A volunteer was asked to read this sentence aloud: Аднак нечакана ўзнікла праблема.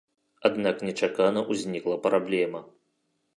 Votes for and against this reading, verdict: 3, 0, accepted